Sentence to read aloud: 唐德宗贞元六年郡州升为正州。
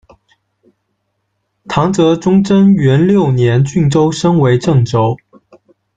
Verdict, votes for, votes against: accepted, 2, 1